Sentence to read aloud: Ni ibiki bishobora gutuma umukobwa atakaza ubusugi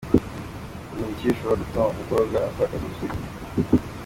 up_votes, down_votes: 2, 1